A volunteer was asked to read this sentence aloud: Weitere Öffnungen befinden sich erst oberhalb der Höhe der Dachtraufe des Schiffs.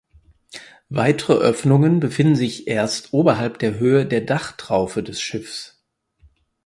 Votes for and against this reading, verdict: 4, 0, accepted